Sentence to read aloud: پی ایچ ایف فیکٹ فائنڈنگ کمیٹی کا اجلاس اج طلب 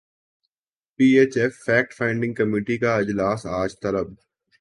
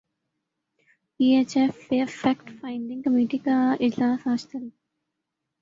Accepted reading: first